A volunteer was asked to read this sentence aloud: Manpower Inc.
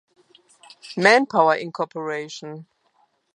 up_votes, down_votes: 1, 2